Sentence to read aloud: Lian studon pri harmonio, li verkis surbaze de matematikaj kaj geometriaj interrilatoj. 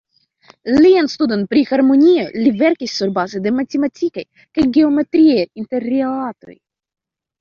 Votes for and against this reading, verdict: 0, 2, rejected